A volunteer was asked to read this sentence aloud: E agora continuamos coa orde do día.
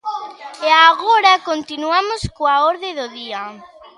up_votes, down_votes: 2, 0